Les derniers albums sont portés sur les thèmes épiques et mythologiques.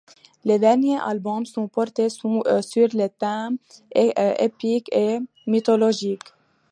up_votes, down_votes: 0, 2